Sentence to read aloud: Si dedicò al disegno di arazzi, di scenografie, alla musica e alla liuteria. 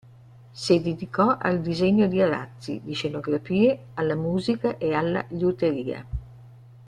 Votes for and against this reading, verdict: 2, 0, accepted